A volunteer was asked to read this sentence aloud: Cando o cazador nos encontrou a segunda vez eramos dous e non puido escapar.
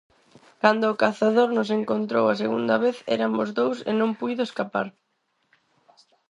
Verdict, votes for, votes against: rejected, 2, 4